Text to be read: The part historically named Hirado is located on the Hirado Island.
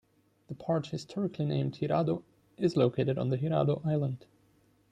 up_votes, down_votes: 2, 0